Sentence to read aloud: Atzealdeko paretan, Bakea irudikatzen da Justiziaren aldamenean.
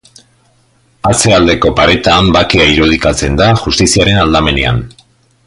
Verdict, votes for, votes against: accepted, 2, 0